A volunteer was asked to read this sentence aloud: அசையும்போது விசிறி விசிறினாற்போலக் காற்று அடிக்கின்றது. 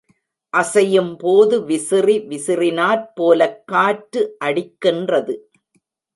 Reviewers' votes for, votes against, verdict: 2, 0, accepted